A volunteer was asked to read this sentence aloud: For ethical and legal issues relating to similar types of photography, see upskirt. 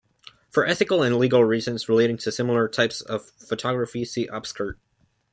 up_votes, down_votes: 0, 2